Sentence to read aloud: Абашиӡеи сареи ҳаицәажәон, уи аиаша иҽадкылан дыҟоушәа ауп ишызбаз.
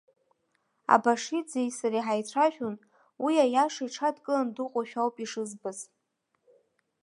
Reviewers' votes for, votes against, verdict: 3, 0, accepted